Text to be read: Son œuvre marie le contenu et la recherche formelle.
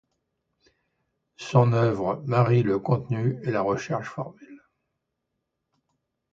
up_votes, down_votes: 2, 0